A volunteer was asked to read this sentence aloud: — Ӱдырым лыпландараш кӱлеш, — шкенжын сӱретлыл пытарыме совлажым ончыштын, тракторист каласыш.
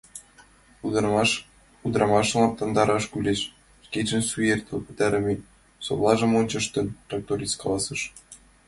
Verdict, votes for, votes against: accepted, 2, 1